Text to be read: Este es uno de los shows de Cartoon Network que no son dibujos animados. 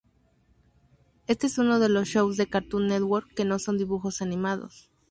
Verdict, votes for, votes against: rejected, 0, 2